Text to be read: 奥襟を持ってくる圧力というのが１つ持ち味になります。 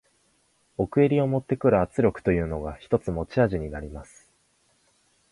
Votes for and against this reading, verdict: 0, 2, rejected